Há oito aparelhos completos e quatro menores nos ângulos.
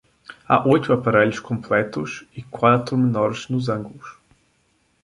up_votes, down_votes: 2, 1